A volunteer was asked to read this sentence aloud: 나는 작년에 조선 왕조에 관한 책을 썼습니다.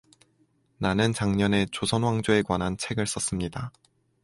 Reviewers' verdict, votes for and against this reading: accepted, 4, 0